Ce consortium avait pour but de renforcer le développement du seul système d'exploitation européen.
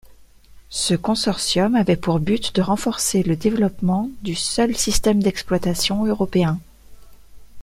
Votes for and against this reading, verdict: 2, 0, accepted